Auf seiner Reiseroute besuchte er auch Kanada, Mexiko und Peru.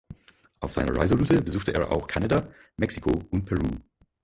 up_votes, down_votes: 2, 4